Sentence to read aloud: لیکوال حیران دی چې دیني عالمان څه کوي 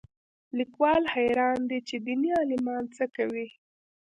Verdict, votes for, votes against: accepted, 2, 0